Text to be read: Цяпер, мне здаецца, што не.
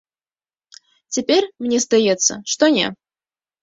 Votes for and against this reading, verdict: 2, 0, accepted